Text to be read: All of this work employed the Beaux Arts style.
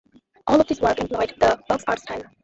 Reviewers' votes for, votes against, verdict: 0, 2, rejected